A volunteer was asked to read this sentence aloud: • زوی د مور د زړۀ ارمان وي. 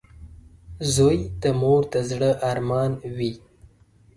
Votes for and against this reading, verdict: 2, 0, accepted